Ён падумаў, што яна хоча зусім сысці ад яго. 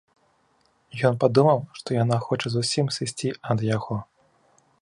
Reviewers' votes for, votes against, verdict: 2, 0, accepted